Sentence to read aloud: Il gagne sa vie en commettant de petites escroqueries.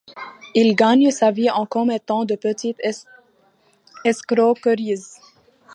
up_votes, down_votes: 1, 2